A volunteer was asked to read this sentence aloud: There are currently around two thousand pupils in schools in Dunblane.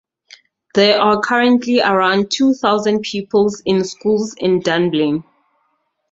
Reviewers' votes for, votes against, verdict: 0, 2, rejected